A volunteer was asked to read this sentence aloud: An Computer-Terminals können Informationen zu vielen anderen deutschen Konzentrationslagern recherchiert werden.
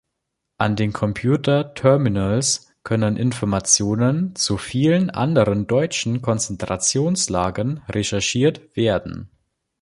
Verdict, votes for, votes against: rejected, 0, 2